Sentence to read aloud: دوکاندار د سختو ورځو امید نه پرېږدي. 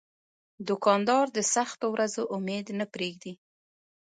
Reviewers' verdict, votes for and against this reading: accepted, 2, 0